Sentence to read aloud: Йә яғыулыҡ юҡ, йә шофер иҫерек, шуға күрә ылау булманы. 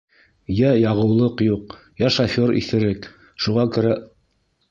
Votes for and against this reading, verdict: 1, 2, rejected